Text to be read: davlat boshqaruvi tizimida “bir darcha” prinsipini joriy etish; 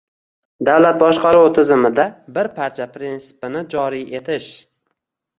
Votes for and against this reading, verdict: 1, 2, rejected